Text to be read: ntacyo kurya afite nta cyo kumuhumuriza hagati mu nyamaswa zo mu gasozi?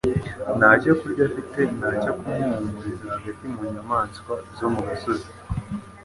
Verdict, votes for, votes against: accepted, 2, 0